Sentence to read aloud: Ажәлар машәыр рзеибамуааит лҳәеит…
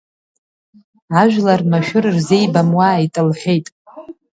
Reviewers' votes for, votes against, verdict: 2, 0, accepted